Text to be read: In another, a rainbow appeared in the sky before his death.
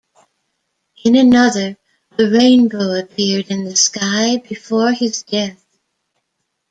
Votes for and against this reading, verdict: 0, 2, rejected